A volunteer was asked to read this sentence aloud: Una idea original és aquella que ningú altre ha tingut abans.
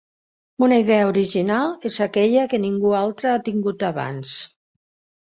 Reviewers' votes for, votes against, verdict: 3, 0, accepted